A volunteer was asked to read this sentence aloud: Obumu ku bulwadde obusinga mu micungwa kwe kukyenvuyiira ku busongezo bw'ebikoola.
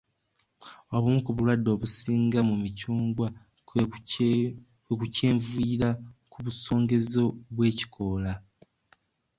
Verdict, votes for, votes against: rejected, 1, 2